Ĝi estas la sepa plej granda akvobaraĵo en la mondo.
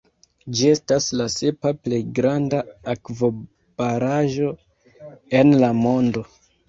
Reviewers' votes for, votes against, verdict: 2, 0, accepted